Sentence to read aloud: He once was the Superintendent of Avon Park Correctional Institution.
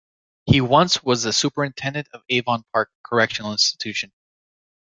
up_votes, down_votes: 2, 0